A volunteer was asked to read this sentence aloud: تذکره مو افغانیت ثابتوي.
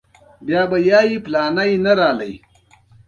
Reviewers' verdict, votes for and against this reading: rejected, 1, 2